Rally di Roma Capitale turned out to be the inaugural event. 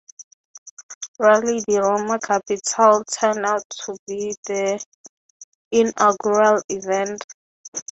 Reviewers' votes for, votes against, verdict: 3, 0, accepted